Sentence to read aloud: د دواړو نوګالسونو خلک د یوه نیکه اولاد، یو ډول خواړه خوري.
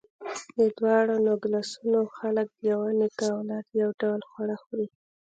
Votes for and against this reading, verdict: 2, 1, accepted